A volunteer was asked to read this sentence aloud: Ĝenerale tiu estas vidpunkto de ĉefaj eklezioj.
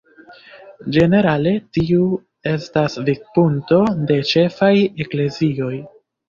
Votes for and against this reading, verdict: 2, 1, accepted